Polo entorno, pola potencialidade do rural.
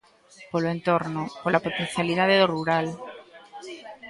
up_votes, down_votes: 0, 2